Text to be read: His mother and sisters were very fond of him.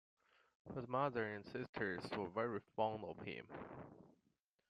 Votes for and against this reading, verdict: 0, 2, rejected